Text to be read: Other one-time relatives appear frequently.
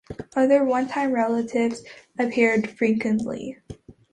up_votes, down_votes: 2, 0